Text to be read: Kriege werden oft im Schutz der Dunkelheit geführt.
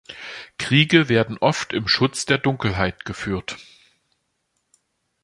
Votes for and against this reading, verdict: 2, 0, accepted